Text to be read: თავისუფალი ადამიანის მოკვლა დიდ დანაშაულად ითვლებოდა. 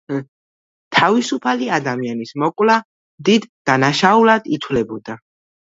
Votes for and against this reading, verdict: 1, 2, rejected